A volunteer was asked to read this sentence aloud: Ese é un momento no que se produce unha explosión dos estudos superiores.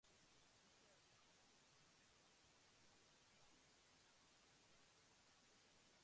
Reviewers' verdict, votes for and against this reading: rejected, 0, 2